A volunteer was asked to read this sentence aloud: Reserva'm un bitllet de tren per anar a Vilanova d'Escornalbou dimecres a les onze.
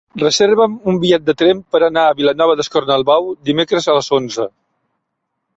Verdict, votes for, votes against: accepted, 3, 0